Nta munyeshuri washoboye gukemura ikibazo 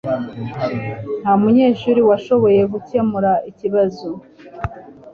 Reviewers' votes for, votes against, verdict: 2, 0, accepted